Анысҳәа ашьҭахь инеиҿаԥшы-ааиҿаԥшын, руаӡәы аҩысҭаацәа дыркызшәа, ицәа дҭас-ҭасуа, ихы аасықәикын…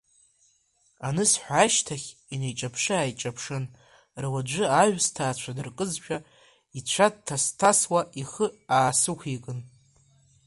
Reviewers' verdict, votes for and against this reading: rejected, 0, 2